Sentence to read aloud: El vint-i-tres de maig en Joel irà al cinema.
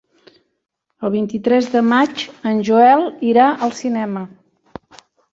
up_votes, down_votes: 3, 0